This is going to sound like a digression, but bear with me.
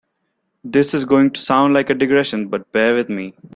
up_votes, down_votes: 2, 0